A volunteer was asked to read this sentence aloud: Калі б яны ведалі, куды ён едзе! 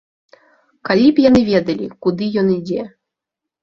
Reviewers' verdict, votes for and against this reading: rejected, 1, 2